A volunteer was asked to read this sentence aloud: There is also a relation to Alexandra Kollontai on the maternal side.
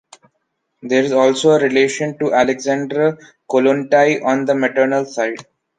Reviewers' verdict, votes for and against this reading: accepted, 2, 0